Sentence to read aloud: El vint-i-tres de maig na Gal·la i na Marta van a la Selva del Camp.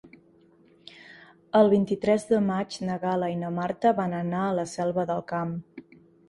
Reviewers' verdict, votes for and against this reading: rejected, 0, 2